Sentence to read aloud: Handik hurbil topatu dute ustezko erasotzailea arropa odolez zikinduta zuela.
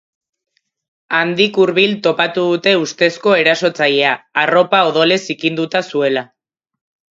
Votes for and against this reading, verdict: 2, 0, accepted